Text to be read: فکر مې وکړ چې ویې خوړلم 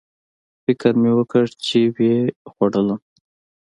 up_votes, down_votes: 2, 0